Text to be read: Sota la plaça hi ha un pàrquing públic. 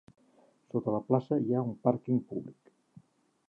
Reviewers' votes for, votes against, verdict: 3, 1, accepted